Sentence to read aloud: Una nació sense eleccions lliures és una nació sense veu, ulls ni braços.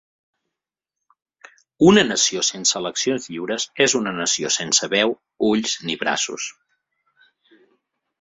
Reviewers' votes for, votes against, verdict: 3, 0, accepted